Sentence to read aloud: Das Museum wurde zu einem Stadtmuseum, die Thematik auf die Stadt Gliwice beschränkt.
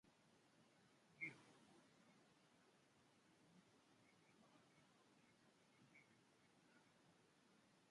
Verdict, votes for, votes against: rejected, 0, 2